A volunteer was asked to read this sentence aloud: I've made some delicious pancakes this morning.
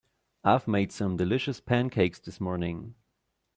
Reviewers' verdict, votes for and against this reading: accepted, 2, 0